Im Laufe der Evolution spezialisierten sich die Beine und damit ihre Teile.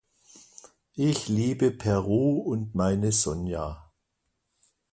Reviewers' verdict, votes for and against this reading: rejected, 0, 2